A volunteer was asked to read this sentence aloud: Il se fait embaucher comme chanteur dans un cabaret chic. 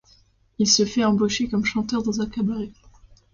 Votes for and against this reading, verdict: 2, 0, accepted